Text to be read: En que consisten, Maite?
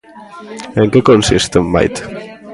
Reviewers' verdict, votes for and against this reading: rejected, 1, 2